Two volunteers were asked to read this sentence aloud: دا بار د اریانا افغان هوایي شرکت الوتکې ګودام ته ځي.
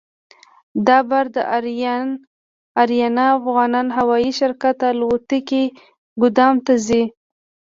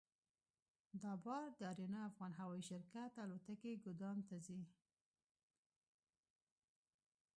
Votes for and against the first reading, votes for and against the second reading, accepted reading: 2, 0, 0, 2, first